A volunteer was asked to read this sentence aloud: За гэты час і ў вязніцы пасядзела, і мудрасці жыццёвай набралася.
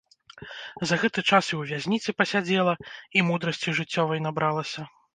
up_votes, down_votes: 0, 2